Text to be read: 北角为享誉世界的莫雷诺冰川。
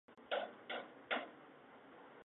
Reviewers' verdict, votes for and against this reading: rejected, 1, 2